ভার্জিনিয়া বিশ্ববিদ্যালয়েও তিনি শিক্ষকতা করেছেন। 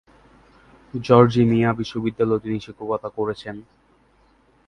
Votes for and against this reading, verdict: 0, 2, rejected